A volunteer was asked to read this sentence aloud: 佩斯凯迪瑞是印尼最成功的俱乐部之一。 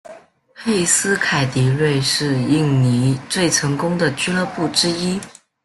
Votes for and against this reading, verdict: 2, 0, accepted